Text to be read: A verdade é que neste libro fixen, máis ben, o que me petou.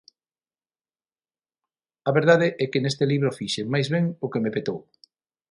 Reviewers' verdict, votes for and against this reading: accepted, 6, 0